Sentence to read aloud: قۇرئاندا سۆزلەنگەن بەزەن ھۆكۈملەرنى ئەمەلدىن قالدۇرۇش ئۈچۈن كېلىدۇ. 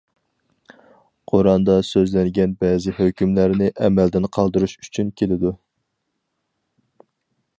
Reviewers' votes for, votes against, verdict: 0, 4, rejected